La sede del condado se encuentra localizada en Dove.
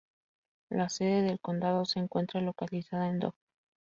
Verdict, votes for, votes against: rejected, 0, 4